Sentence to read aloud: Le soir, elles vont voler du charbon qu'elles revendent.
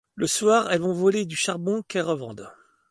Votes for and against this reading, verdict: 2, 0, accepted